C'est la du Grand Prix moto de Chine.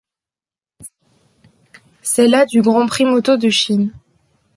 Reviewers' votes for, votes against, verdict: 2, 0, accepted